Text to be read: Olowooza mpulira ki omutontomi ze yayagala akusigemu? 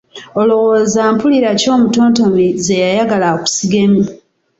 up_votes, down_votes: 2, 0